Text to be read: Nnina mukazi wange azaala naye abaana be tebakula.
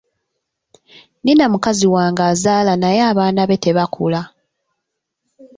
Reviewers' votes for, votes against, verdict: 1, 2, rejected